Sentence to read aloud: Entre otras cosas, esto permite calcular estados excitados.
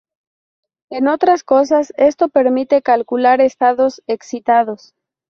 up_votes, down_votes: 2, 4